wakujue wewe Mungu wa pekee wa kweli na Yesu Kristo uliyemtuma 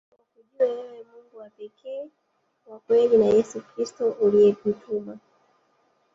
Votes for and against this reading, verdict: 1, 2, rejected